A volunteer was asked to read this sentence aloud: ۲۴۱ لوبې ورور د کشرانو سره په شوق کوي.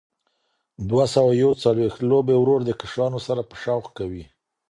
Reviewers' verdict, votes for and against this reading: rejected, 0, 2